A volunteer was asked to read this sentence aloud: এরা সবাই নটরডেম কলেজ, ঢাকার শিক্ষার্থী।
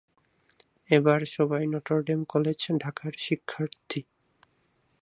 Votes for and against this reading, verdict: 0, 2, rejected